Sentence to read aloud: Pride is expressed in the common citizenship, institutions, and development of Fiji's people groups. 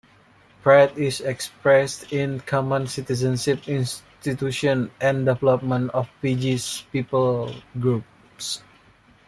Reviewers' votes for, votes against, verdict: 1, 2, rejected